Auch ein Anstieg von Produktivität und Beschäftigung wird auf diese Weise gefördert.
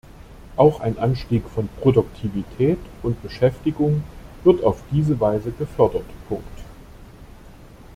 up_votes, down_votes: 0, 2